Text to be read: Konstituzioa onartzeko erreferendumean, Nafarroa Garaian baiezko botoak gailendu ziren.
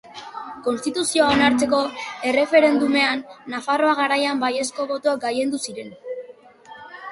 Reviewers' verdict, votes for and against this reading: rejected, 1, 2